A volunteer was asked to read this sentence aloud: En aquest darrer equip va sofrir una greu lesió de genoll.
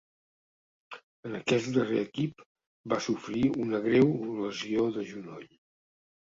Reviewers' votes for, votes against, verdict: 0, 2, rejected